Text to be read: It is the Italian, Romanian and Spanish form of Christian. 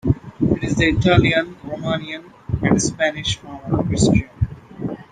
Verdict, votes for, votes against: accepted, 2, 1